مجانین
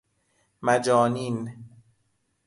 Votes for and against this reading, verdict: 2, 0, accepted